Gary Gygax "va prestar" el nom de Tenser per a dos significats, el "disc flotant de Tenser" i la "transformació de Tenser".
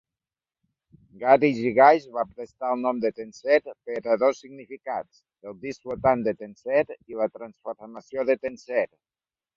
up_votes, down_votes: 1, 2